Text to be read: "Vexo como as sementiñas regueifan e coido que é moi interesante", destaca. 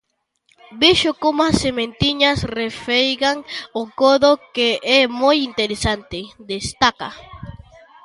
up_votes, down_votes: 0, 2